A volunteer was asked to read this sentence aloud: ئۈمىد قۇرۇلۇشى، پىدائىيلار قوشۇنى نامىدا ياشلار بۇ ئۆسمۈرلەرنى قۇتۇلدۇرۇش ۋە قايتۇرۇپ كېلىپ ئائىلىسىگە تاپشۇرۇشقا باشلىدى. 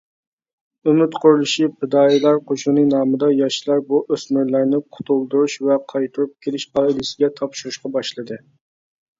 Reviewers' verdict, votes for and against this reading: rejected, 1, 2